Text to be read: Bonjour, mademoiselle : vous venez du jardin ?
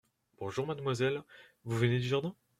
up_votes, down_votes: 2, 0